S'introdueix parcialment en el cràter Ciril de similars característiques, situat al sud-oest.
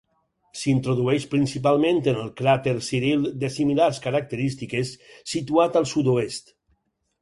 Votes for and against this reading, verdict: 0, 4, rejected